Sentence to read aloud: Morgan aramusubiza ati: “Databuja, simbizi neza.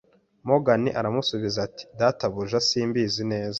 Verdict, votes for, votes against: accepted, 2, 0